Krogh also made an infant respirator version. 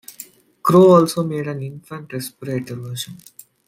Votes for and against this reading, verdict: 1, 2, rejected